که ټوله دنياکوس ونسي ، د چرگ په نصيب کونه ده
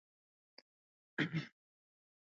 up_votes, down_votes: 0, 2